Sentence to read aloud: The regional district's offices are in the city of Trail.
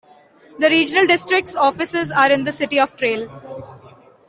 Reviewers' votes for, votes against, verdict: 2, 0, accepted